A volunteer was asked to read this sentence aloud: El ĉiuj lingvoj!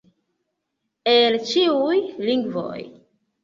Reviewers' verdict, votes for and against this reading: rejected, 1, 2